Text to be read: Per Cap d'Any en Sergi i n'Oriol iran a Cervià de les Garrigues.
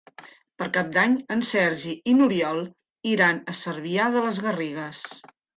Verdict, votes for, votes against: accepted, 3, 0